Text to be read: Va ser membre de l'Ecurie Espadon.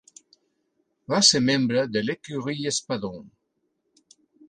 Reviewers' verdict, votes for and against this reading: accepted, 2, 1